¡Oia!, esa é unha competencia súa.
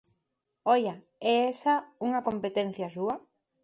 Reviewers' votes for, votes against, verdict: 0, 2, rejected